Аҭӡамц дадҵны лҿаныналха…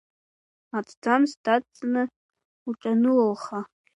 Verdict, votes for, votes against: rejected, 0, 2